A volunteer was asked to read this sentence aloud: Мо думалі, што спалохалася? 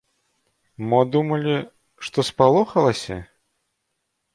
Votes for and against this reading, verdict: 2, 0, accepted